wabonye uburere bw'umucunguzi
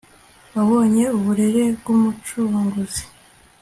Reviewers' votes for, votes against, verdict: 2, 0, accepted